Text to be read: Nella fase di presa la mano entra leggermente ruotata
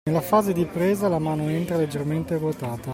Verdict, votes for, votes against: accepted, 2, 0